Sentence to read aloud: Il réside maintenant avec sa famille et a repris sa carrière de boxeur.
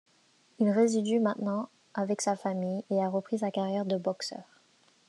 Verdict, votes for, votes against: rejected, 1, 2